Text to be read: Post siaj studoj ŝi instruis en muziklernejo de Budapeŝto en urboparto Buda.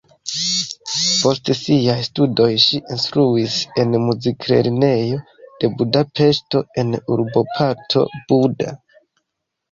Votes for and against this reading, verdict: 2, 0, accepted